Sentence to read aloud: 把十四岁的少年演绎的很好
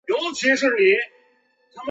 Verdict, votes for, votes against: rejected, 0, 3